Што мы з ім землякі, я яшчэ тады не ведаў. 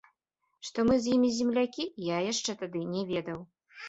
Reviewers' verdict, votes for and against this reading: rejected, 0, 3